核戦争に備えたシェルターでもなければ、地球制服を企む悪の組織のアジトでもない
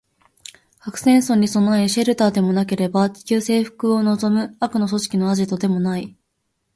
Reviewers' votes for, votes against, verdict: 0, 4, rejected